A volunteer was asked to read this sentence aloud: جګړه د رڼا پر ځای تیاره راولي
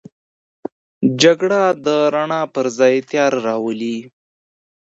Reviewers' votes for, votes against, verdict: 2, 0, accepted